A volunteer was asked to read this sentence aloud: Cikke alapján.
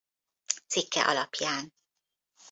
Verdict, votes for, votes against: accepted, 2, 0